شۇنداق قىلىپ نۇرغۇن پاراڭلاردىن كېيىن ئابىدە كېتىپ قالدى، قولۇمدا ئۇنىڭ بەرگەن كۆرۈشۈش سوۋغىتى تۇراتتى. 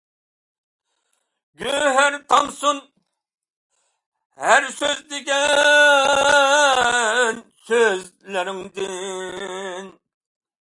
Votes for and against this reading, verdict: 0, 2, rejected